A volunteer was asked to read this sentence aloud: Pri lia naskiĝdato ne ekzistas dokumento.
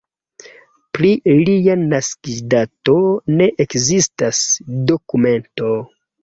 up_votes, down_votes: 2, 0